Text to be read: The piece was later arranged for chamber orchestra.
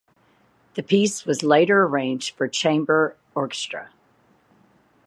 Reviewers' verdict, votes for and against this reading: accepted, 4, 0